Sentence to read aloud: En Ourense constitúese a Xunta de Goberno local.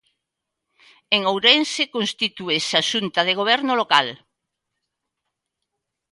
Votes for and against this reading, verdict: 2, 0, accepted